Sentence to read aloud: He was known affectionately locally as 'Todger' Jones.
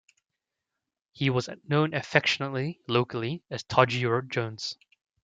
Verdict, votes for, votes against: accepted, 2, 0